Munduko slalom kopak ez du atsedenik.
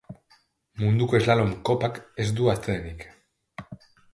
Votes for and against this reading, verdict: 3, 1, accepted